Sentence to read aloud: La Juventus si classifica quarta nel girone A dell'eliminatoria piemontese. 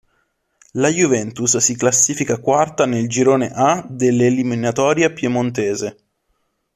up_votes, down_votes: 2, 0